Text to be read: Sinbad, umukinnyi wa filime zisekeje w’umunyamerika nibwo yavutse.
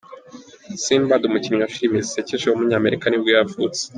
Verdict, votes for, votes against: accepted, 2, 1